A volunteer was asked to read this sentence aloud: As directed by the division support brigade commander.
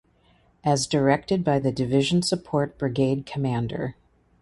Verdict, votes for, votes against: accepted, 2, 0